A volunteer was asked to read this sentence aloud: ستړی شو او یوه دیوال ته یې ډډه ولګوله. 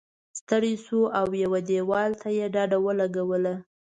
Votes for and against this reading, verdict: 2, 0, accepted